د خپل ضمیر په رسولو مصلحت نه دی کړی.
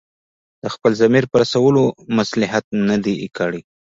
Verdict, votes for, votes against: accepted, 2, 0